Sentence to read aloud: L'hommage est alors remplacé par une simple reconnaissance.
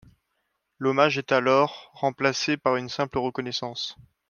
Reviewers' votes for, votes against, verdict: 2, 0, accepted